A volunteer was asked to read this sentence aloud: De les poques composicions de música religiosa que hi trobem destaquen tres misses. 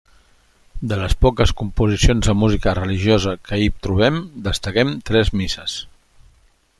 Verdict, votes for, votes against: rejected, 1, 2